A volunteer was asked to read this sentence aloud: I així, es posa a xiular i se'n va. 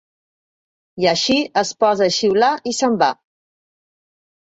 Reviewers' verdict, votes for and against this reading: accepted, 3, 0